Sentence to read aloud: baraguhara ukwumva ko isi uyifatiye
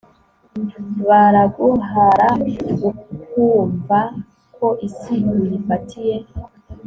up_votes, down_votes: 2, 0